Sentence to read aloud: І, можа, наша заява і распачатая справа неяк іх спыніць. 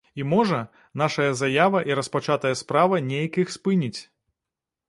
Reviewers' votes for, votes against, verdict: 1, 2, rejected